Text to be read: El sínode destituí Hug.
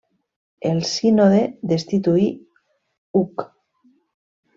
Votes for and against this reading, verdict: 2, 0, accepted